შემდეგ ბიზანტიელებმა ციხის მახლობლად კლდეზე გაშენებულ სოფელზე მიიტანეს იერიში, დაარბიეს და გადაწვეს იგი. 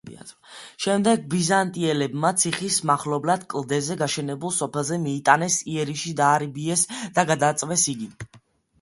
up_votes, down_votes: 2, 0